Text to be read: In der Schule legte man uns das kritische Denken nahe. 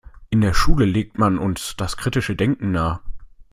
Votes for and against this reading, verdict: 1, 2, rejected